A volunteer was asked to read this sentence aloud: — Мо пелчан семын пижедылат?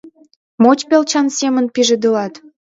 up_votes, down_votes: 1, 2